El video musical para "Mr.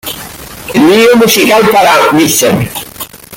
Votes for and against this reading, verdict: 1, 2, rejected